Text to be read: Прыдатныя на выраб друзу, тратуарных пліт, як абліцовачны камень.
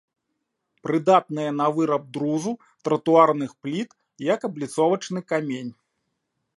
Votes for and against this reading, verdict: 2, 1, accepted